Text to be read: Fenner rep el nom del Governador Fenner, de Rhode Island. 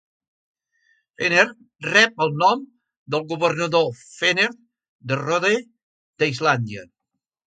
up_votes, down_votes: 0, 2